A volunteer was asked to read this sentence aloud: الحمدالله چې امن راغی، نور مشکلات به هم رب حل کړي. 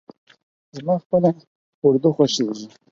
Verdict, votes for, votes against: rejected, 0, 4